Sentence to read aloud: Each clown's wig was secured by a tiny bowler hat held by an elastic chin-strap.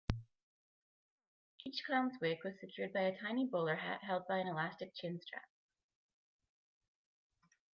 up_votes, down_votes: 2, 1